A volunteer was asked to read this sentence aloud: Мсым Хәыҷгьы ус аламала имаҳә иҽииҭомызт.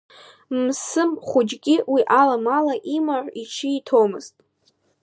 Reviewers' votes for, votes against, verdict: 1, 2, rejected